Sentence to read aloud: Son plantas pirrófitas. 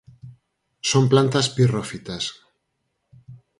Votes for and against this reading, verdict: 4, 0, accepted